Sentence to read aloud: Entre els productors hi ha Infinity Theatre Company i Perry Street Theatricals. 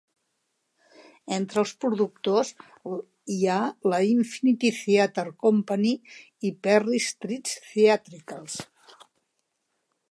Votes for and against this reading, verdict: 0, 2, rejected